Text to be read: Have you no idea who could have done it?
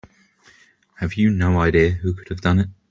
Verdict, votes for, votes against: accepted, 3, 0